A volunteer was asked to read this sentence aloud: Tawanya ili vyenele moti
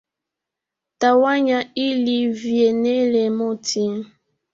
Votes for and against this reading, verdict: 4, 0, accepted